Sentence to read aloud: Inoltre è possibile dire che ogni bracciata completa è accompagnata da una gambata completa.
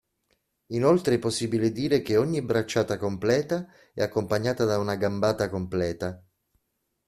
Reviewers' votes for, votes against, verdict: 2, 0, accepted